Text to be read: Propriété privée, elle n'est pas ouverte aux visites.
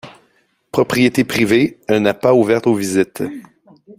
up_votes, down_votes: 2, 0